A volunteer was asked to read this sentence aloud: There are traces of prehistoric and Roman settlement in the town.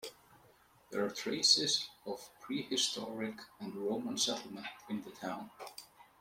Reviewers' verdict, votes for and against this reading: accepted, 2, 1